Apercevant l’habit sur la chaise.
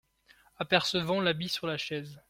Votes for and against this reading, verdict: 2, 0, accepted